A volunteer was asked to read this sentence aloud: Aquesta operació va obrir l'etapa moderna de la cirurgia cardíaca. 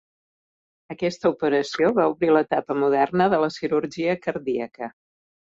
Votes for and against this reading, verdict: 2, 0, accepted